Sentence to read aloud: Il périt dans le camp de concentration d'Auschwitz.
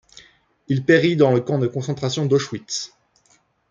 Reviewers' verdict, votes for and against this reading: accepted, 2, 0